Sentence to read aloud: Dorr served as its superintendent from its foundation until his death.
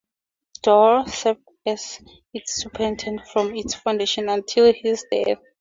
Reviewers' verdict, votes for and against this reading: accepted, 2, 0